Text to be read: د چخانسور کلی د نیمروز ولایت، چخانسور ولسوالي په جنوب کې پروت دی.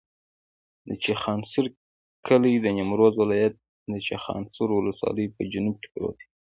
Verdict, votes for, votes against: accepted, 2, 1